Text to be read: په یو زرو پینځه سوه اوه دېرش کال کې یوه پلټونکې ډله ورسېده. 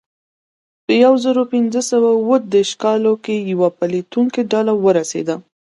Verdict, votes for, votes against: accepted, 2, 0